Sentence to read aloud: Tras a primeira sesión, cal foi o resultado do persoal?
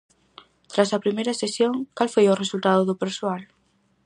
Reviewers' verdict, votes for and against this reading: accepted, 4, 0